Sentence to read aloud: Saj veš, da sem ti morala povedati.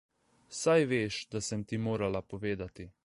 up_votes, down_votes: 2, 0